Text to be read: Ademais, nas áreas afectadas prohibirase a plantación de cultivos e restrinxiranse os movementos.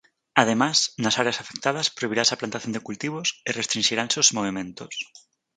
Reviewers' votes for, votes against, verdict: 0, 4, rejected